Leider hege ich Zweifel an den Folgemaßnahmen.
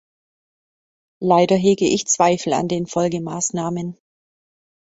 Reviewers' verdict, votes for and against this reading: accepted, 2, 0